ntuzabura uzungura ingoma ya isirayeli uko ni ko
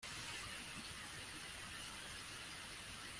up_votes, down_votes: 0, 2